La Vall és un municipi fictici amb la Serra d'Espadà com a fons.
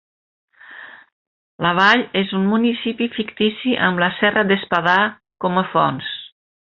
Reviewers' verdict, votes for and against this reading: accepted, 3, 0